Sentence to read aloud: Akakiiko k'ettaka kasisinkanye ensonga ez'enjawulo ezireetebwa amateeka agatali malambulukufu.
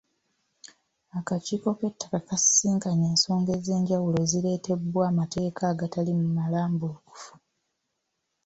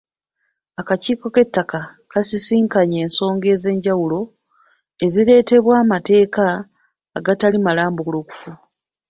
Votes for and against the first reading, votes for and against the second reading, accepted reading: 2, 0, 1, 2, first